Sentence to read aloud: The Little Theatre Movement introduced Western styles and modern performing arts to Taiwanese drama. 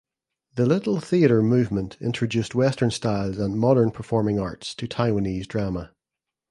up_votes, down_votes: 3, 0